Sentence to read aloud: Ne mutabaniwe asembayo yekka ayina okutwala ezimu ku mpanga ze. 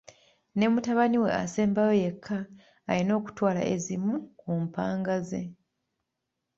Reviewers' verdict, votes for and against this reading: accepted, 2, 0